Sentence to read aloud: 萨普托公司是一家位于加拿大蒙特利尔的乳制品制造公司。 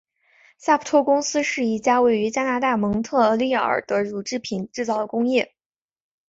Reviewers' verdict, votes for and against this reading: accepted, 2, 0